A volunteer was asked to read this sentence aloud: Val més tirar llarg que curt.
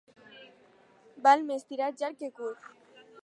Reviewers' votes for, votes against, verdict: 4, 0, accepted